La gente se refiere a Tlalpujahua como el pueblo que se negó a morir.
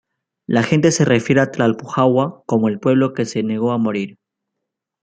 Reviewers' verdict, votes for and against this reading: rejected, 0, 2